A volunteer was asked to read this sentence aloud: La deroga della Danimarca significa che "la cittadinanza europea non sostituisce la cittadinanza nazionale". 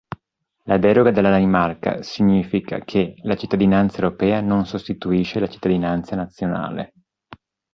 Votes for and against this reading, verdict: 2, 0, accepted